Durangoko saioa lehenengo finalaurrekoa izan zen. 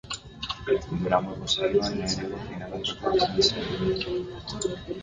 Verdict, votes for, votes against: rejected, 0, 2